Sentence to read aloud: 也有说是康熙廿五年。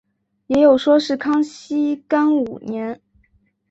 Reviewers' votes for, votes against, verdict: 0, 2, rejected